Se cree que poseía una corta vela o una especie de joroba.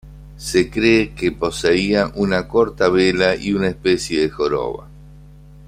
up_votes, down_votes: 1, 2